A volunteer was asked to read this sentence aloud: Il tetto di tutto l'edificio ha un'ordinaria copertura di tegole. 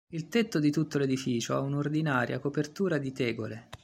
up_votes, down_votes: 2, 0